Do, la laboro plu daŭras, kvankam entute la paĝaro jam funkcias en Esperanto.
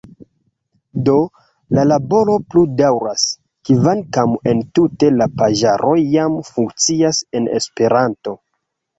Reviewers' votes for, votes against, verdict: 2, 0, accepted